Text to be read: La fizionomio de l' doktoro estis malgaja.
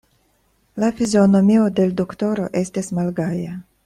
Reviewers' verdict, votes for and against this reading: accepted, 2, 1